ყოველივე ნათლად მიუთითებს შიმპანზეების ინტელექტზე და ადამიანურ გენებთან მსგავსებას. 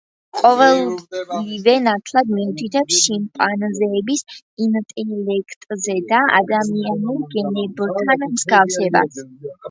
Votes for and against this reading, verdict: 2, 1, accepted